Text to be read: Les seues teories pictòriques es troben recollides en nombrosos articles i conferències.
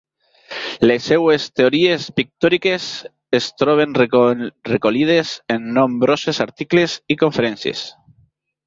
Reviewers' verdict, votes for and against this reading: rejected, 1, 2